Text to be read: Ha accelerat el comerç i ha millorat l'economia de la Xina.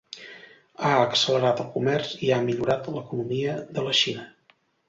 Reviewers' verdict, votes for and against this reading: accepted, 2, 0